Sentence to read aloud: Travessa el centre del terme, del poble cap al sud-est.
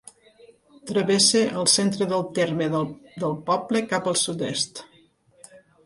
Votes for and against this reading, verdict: 1, 2, rejected